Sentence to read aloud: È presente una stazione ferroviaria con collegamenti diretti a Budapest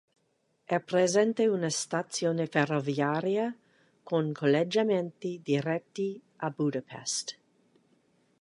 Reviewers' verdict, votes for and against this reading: rejected, 0, 2